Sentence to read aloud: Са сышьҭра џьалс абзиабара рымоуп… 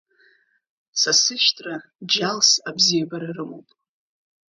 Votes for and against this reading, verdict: 1, 2, rejected